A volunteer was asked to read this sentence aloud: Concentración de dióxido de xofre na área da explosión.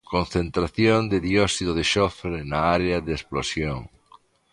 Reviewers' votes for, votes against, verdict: 0, 2, rejected